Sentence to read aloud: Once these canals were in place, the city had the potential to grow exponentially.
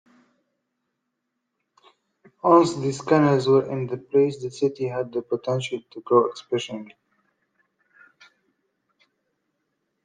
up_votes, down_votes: 0, 2